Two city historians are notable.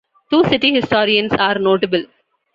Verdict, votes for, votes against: accepted, 2, 0